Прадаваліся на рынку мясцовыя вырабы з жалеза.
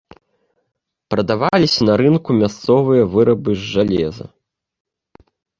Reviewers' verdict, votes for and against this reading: accepted, 2, 0